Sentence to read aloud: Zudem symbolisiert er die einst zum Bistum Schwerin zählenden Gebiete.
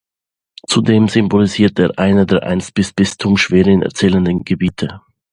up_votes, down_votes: 1, 2